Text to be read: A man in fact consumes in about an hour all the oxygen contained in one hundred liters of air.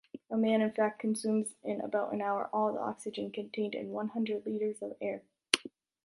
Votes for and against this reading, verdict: 2, 1, accepted